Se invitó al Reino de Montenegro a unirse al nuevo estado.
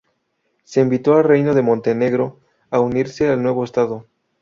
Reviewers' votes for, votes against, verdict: 2, 0, accepted